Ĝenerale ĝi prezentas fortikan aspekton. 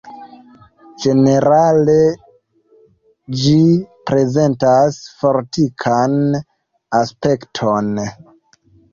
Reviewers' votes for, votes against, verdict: 1, 2, rejected